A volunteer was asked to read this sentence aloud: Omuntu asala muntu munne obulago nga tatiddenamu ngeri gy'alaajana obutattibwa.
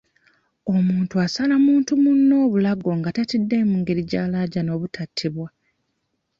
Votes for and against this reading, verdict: 1, 2, rejected